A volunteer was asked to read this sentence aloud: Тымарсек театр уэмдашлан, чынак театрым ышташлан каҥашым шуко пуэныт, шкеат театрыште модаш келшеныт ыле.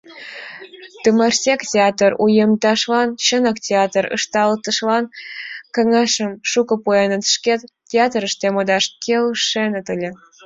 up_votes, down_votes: 0, 2